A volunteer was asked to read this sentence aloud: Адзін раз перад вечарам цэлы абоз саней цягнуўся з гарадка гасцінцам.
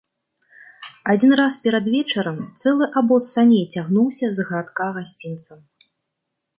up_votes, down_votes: 2, 0